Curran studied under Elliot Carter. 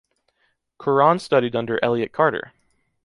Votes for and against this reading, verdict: 2, 0, accepted